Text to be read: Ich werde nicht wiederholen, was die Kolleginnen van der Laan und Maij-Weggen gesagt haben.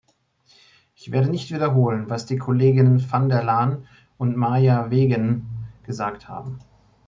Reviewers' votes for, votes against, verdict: 1, 2, rejected